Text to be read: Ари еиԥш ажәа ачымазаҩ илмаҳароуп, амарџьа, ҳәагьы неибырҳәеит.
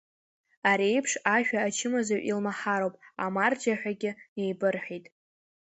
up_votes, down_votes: 2, 0